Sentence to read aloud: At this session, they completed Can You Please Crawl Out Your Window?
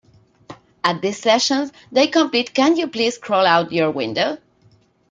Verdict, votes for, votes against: accepted, 2, 1